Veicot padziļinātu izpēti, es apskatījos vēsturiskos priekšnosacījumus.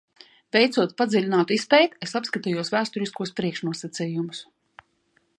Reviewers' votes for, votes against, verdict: 2, 0, accepted